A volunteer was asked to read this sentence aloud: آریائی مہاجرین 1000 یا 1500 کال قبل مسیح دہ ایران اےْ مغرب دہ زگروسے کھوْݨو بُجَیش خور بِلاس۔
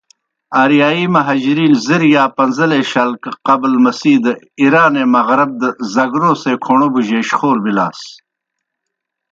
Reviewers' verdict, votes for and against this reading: rejected, 0, 2